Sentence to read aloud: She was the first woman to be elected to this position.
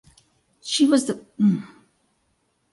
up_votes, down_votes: 0, 2